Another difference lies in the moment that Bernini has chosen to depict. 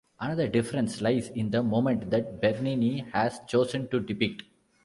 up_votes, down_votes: 2, 0